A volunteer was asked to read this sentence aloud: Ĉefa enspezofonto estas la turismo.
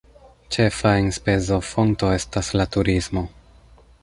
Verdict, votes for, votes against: accepted, 3, 0